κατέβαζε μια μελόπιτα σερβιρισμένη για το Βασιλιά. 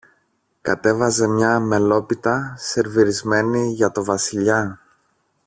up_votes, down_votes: 1, 2